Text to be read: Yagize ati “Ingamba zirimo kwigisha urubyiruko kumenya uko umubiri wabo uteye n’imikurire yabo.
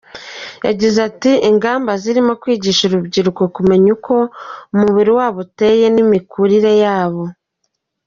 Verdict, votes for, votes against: accepted, 2, 1